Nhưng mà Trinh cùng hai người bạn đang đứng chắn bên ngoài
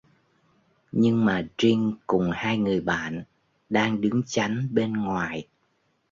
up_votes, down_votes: 0, 2